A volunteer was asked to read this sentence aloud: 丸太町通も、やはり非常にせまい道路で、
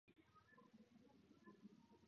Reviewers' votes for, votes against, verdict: 6, 15, rejected